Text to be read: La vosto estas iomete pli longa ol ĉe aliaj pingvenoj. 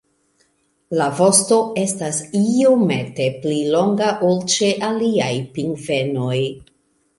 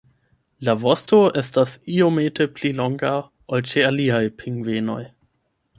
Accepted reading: first